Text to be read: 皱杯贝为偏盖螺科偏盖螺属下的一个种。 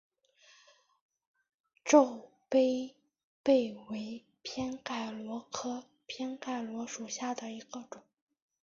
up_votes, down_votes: 2, 0